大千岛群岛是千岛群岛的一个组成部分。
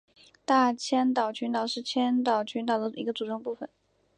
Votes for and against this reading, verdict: 4, 1, accepted